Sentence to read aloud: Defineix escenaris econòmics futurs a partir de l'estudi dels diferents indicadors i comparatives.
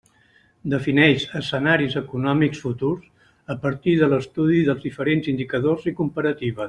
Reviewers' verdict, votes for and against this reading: rejected, 1, 2